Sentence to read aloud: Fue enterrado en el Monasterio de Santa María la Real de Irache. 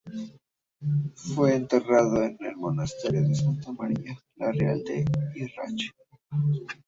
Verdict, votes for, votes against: rejected, 0, 2